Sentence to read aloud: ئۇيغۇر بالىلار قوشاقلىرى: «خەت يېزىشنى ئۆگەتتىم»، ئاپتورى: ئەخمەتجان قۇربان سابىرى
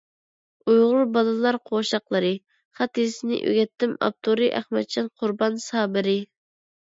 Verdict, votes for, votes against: accepted, 2, 0